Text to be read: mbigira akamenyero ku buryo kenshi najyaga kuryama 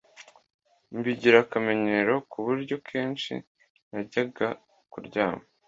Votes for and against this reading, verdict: 2, 0, accepted